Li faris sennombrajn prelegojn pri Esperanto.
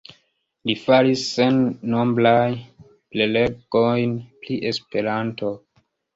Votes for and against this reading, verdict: 1, 2, rejected